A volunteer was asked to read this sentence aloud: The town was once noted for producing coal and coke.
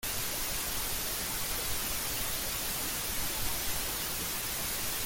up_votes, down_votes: 0, 2